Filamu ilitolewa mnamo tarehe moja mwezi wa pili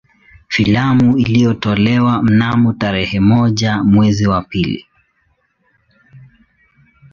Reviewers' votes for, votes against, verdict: 0, 2, rejected